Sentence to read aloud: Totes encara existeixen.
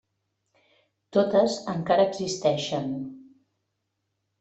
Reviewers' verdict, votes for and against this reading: accepted, 3, 0